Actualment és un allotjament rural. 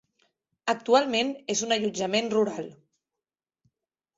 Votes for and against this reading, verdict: 3, 1, accepted